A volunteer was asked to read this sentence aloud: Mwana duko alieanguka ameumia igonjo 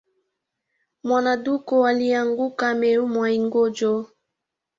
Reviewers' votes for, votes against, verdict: 2, 0, accepted